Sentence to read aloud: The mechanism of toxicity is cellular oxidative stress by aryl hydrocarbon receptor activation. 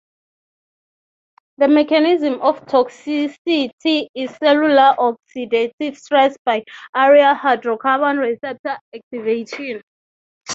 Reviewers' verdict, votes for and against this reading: rejected, 3, 3